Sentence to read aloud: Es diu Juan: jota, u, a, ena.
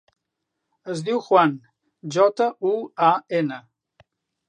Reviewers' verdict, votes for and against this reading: accepted, 2, 0